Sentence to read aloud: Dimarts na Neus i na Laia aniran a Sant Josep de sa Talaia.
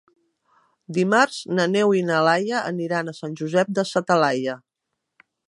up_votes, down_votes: 1, 3